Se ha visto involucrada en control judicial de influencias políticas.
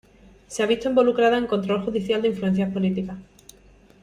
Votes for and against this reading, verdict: 1, 2, rejected